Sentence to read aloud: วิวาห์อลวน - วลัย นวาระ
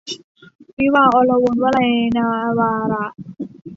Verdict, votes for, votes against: rejected, 0, 2